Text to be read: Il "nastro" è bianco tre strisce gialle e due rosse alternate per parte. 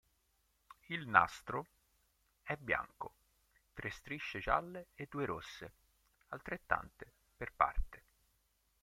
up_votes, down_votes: 1, 3